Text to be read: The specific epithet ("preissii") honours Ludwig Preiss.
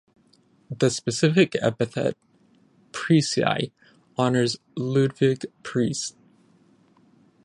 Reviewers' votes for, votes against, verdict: 5, 5, rejected